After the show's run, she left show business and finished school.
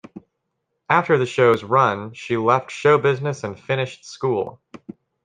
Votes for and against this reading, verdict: 2, 0, accepted